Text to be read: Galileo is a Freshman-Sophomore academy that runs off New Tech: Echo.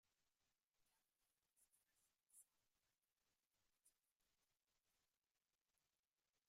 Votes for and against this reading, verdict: 0, 2, rejected